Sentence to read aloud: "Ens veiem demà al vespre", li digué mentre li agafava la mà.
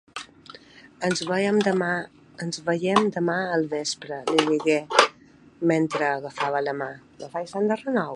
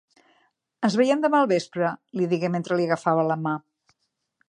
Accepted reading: second